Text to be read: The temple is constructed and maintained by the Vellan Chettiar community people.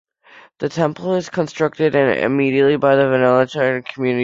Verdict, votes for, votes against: rejected, 1, 2